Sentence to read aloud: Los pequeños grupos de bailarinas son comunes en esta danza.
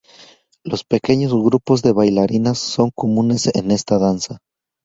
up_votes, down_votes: 2, 0